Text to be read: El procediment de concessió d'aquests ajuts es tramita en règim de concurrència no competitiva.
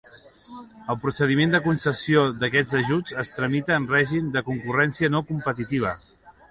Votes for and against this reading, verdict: 2, 1, accepted